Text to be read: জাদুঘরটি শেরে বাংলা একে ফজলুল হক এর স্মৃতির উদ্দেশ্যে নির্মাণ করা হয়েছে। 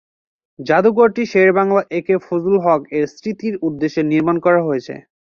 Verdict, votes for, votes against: accepted, 5, 1